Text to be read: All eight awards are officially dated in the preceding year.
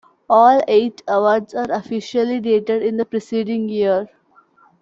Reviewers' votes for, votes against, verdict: 2, 0, accepted